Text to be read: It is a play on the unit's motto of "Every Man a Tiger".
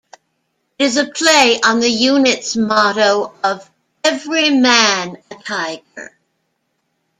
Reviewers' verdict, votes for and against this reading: rejected, 1, 2